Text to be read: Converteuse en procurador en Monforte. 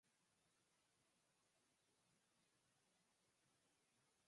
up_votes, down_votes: 0, 4